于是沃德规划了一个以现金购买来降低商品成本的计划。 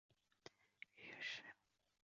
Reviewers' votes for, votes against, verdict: 2, 3, rejected